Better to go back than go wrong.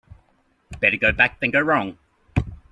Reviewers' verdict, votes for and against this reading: rejected, 0, 2